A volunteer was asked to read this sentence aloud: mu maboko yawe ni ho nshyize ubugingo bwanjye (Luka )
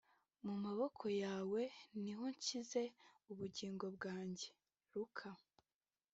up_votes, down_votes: 2, 0